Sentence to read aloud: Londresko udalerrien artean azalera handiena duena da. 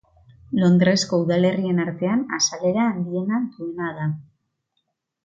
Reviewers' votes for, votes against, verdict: 2, 0, accepted